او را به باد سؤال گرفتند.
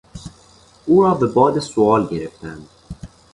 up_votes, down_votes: 2, 0